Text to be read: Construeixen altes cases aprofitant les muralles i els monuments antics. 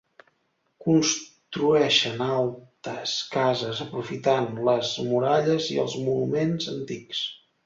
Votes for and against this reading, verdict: 2, 1, accepted